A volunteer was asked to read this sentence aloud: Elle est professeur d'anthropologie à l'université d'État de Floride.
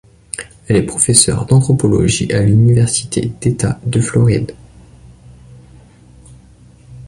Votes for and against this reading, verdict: 2, 0, accepted